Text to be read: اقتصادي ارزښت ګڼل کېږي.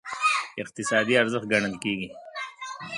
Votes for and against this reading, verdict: 0, 2, rejected